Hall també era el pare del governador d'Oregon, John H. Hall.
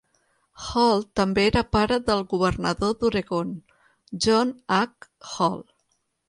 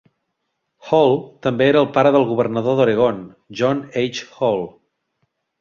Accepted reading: second